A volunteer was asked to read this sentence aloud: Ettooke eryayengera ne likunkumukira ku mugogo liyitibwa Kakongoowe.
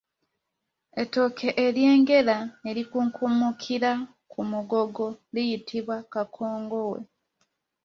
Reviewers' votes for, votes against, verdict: 0, 2, rejected